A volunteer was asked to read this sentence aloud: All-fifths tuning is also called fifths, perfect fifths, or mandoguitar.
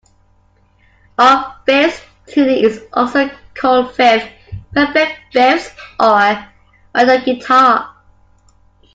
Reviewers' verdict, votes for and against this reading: rejected, 0, 2